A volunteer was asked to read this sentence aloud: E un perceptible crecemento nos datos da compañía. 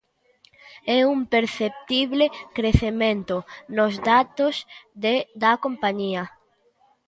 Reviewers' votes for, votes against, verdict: 0, 2, rejected